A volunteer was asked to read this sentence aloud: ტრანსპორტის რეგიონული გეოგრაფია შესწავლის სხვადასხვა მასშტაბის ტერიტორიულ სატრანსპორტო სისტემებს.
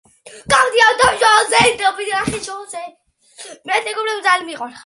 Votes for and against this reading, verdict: 0, 2, rejected